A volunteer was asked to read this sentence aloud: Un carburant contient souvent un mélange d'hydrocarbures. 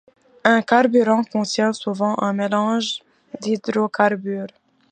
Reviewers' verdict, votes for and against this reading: accepted, 2, 0